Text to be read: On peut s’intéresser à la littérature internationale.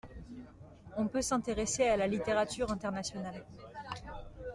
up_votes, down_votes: 2, 0